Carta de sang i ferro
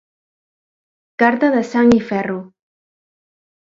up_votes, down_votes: 2, 0